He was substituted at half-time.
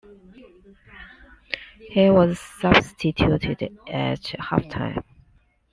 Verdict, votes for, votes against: accepted, 2, 1